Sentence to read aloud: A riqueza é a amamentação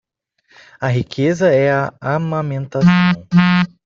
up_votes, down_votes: 1, 2